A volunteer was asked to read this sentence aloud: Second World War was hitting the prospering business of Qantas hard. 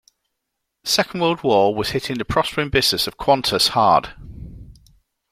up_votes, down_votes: 2, 0